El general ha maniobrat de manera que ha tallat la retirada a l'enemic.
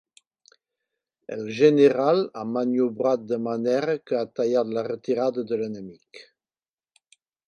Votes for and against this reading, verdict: 1, 2, rejected